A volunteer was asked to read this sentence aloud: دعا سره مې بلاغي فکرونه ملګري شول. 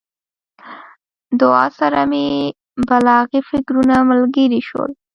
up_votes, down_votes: 1, 2